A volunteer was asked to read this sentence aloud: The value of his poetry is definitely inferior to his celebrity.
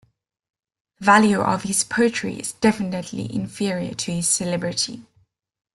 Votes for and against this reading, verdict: 2, 0, accepted